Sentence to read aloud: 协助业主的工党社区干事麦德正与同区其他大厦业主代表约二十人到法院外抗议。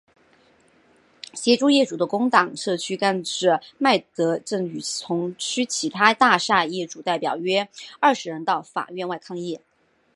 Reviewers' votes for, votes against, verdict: 3, 0, accepted